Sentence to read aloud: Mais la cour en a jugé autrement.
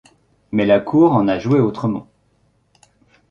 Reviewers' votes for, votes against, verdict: 1, 2, rejected